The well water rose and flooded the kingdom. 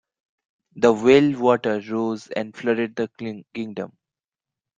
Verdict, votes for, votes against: rejected, 0, 2